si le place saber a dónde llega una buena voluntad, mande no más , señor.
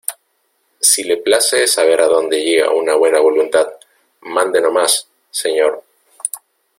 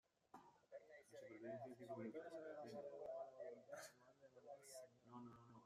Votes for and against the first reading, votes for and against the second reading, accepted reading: 2, 0, 0, 2, first